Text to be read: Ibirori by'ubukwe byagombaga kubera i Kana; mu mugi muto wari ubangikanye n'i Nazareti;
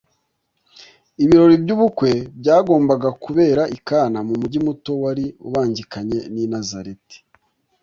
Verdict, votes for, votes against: accepted, 2, 0